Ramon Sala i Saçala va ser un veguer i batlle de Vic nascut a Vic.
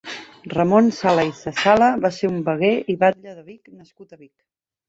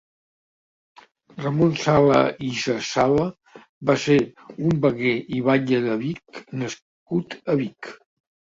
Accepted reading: second